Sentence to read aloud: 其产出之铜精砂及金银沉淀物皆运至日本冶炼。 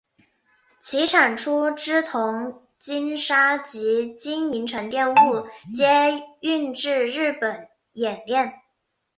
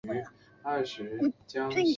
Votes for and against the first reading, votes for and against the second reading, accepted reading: 3, 0, 0, 2, first